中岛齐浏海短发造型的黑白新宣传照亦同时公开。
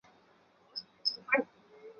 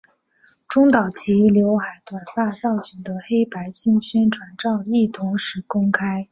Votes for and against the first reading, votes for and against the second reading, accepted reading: 3, 4, 6, 0, second